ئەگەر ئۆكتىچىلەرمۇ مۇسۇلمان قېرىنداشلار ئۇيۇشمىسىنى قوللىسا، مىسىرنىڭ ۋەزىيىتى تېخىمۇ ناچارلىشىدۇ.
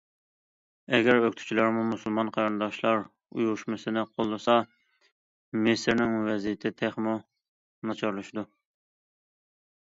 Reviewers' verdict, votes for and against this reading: accepted, 2, 1